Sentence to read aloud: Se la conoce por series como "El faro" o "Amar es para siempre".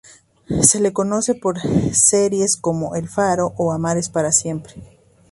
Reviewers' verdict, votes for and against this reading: accepted, 2, 0